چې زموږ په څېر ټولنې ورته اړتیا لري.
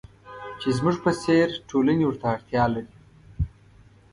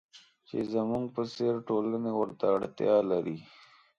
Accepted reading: second